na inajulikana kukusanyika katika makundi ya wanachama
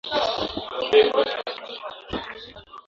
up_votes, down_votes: 0, 2